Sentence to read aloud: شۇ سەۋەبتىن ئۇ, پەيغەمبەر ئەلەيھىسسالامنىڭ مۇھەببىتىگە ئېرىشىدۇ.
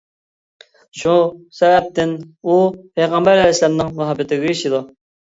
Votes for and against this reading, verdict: 1, 2, rejected